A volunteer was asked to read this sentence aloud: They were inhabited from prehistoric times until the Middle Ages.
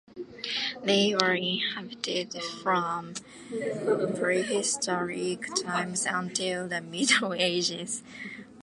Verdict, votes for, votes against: accepted, 2, 0